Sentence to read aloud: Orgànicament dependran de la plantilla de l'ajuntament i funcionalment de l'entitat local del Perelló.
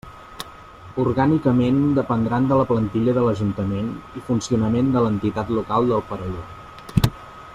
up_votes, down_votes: 0, 2